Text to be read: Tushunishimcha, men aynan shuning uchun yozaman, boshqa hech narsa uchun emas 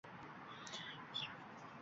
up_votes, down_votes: 0, 2